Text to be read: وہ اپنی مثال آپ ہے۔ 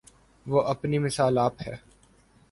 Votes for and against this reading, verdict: 4, 0, accepted